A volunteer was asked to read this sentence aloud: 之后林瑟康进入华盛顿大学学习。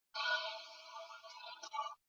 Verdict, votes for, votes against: rejected, 1, 2